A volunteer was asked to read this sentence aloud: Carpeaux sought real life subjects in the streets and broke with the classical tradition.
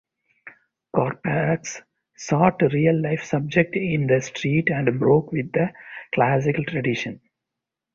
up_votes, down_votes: 2, 8